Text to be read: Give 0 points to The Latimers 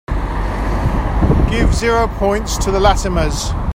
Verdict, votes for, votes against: rejected, 0, 2